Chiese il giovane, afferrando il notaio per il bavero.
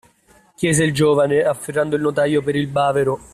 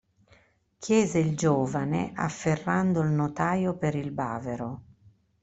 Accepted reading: first